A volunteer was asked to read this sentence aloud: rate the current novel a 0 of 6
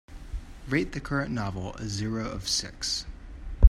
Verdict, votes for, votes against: rejected, 0, 2